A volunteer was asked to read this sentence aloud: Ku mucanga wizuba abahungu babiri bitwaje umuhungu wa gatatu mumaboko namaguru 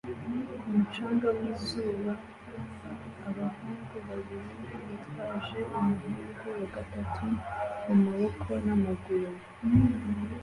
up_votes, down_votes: 1, 2